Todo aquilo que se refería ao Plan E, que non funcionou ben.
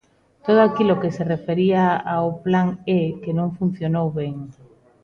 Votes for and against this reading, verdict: 2, 0, accepted